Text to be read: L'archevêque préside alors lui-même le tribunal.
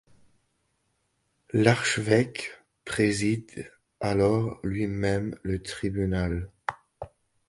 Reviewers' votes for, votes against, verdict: 2, 0, accepted